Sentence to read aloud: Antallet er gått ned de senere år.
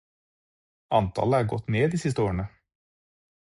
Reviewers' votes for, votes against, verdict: 0, 4, rejected